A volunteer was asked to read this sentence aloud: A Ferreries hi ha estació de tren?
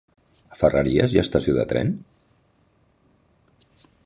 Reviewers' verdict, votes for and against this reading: accepted, 4, 0